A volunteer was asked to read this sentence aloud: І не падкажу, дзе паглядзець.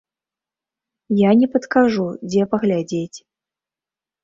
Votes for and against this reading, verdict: 0, 2, rejected